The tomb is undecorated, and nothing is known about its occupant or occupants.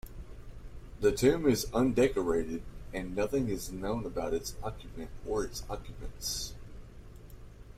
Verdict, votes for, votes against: rejected, 1, 2